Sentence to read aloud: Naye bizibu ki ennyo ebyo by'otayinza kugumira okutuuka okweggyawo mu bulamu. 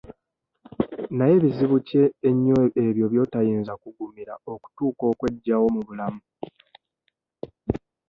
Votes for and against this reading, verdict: 2, 0, accepted